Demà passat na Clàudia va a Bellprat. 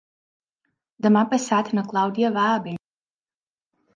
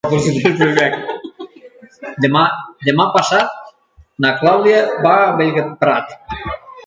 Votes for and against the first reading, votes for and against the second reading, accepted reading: 1, 2, 2, 1, second